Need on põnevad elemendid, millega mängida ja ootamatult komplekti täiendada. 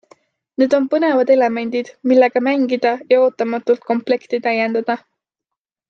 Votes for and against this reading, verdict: 2, 0, accepted